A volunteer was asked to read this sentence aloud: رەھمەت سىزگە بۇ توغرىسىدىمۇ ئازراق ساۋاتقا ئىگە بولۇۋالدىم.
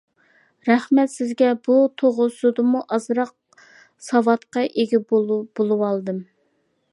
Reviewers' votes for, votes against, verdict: 0, 2, rejected